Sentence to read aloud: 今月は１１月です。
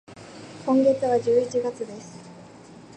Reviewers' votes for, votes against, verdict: 0, 2, rejected